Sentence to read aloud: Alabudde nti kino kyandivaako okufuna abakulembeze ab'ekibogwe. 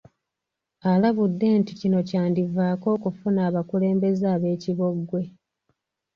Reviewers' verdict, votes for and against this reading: accepted, 2, 0